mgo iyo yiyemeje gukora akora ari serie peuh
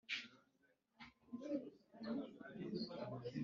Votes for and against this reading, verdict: 1, 3, rejected